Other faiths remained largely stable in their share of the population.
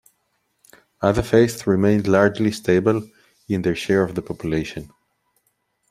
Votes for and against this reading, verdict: 2, 0, accepted